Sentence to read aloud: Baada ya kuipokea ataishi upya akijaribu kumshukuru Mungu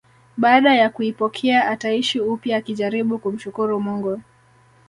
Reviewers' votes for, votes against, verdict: 2, 0, accepted